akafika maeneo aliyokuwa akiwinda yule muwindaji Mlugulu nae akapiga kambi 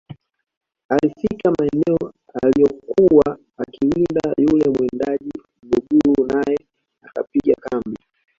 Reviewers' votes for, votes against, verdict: 0, 2, rejected